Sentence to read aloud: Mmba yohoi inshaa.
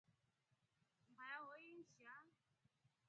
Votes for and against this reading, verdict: 0, 2, rejected